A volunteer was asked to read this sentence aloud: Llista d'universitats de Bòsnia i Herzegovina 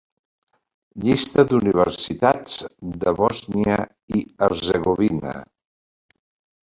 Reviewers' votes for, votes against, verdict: 2, 1, accepted